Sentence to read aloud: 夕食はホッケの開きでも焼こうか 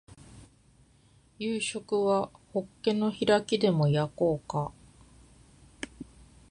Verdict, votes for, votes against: accepted, 2, 0